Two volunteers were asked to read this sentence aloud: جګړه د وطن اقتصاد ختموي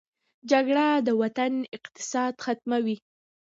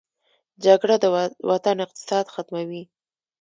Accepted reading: first